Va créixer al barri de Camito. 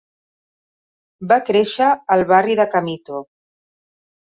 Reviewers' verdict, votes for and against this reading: accepted, 3, 0